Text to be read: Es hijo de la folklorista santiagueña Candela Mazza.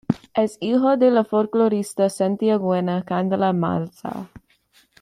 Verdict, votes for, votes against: accepted, 2, 0